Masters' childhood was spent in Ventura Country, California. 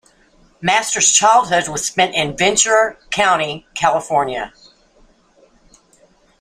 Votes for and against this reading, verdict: 2, 0, accepted